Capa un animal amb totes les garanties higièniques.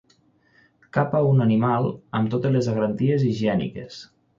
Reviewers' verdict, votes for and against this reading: accepted, 6, 0